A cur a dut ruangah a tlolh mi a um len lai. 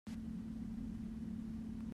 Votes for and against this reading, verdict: 0, 2, rejected